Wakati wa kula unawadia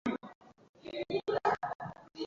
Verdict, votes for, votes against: rejected, 0, 2